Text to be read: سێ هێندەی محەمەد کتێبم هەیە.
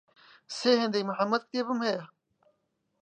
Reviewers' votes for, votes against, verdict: 2, 0, accepted